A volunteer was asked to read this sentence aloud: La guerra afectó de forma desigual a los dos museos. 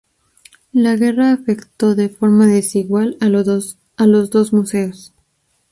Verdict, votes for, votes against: rejected, 0, 2